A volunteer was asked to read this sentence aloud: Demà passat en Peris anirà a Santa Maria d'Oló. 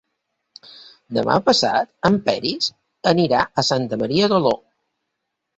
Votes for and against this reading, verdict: 2, 0, accepted